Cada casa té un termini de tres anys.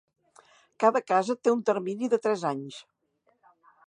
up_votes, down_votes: 2, 0